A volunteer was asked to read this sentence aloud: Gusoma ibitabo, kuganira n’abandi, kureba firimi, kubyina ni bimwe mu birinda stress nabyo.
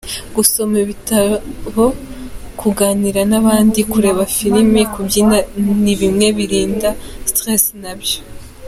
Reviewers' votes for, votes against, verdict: 3, 1, accepted